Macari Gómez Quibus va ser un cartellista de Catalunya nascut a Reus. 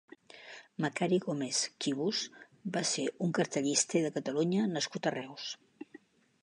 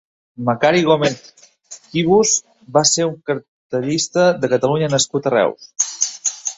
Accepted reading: first